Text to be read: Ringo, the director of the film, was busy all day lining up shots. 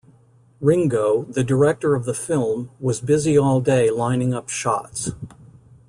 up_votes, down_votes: 2, 0